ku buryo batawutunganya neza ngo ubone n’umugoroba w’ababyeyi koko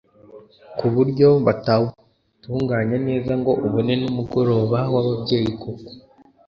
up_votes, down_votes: 1, 2